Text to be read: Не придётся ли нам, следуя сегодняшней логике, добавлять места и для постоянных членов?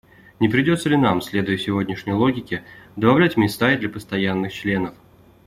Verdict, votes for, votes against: accepted, 2, 0